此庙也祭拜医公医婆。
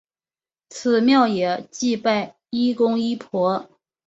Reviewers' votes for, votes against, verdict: 2, 0, accepted